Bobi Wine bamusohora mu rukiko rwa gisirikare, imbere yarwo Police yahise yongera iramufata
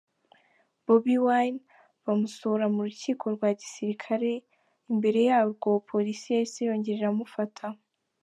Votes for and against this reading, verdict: 2, 0, accepted